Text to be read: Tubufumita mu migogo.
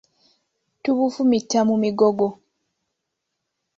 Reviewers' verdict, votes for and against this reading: accepted, 2, 0